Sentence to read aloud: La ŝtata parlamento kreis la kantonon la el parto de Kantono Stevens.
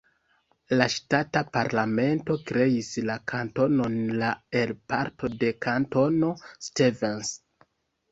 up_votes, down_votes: 1, 2